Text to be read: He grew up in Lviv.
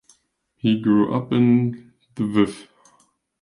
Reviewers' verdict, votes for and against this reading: rejected, 0, 2